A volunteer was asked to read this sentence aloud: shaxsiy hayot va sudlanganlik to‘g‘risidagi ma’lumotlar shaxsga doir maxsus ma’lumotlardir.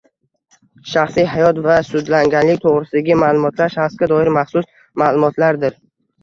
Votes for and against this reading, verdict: 0, 2, rejected